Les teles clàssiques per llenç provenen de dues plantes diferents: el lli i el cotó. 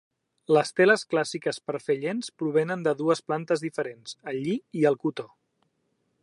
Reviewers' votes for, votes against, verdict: 1, 2, rejected